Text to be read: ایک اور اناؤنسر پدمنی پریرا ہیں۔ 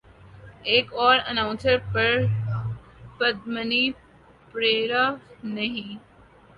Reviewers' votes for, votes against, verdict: 0, 2, rejected